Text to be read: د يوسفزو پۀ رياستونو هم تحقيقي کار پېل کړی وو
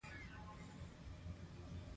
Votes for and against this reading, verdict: 1, 2, rejected